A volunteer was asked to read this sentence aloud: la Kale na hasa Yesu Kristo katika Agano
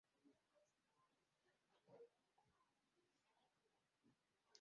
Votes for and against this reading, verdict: 0, 2, rejected